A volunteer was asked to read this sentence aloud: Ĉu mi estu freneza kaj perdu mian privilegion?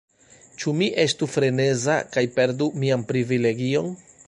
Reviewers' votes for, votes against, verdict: 2, 1, accepted